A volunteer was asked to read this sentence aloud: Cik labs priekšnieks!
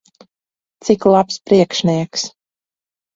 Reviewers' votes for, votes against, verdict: 2, 2, rejected